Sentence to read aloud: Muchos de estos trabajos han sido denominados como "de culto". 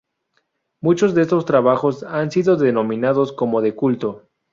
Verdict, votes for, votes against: accepted, 2, 0